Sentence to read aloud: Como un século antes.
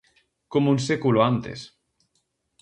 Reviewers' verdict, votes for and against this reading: accepted, 4, 0